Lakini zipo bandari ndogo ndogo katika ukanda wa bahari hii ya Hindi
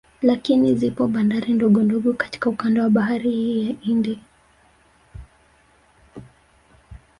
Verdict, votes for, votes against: accepted, 4, 1